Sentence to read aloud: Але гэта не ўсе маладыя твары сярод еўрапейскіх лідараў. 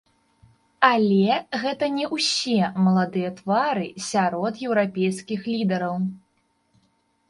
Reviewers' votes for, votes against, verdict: 2, 3, rejected